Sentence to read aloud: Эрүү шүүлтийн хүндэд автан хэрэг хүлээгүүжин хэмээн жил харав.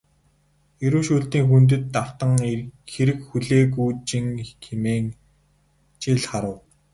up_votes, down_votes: 2, 2